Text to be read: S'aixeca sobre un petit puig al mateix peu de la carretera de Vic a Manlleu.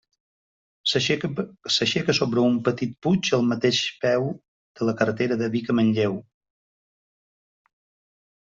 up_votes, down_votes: 0, 2